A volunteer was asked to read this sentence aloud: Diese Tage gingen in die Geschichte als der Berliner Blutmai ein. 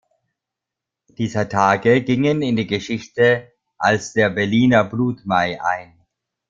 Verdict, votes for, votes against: rejected, 0, 2